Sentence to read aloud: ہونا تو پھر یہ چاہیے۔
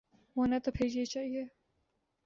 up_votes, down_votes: 2, 0